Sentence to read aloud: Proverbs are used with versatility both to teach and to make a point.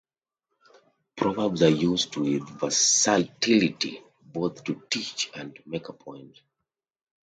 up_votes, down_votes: 0, 2